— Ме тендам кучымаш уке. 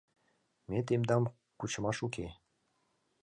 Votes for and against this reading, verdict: 2, 1, accepted